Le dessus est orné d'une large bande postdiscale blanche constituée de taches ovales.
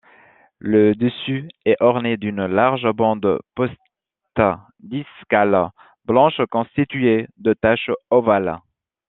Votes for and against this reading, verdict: 1, 2, rejected